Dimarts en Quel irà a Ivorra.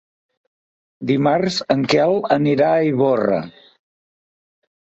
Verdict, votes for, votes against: accepted, 2, 1